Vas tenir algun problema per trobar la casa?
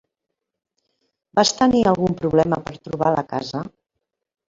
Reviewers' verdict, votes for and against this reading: accepted, 3, 1